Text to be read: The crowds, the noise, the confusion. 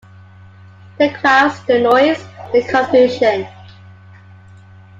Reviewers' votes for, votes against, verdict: 2, 1, accepted